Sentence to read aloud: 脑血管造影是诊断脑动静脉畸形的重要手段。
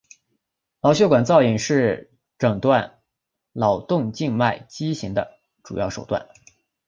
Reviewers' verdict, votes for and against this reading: accepted, 4, 1